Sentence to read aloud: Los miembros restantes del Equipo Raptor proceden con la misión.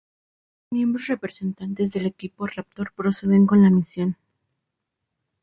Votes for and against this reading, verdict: 0, 2, rejected